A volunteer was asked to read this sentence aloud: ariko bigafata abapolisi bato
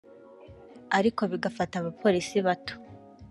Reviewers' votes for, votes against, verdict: 2, 0, accepted